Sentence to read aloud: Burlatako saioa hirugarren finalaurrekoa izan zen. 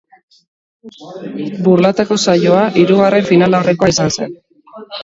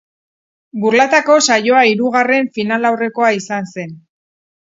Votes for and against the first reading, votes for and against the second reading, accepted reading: 1, 2, 4, 0, second